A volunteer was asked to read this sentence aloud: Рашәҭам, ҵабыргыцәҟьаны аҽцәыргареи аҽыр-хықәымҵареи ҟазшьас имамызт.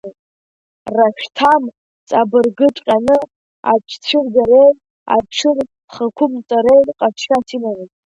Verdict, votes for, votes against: rejected, 1, 2